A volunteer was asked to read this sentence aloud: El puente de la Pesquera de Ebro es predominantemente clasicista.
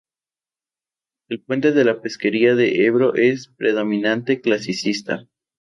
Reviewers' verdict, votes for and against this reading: rejected, 0, 2